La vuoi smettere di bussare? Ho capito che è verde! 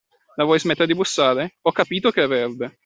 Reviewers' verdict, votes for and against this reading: accepted, 2, 0